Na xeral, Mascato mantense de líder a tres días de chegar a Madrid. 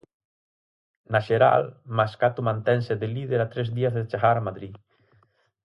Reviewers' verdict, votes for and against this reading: accepted, 4, 0